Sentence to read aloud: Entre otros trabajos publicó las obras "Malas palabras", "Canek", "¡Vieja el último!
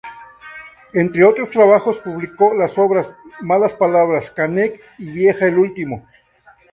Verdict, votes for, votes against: rejected, 2, 2